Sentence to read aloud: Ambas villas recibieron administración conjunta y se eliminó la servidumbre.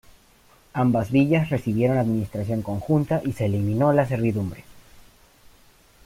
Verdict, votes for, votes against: accepted, 2, 0